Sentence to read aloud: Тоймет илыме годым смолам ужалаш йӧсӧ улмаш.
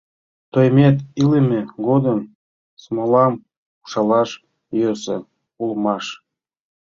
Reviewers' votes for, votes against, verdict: 2, 0, accepted